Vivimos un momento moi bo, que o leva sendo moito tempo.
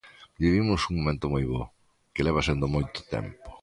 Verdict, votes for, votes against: rejected, 0, 2